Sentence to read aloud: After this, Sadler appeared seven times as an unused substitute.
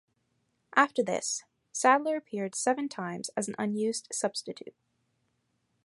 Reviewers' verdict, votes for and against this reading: accepted, 2, 0